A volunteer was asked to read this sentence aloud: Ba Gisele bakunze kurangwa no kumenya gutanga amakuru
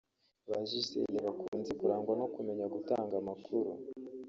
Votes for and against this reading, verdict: 0, 2, rejected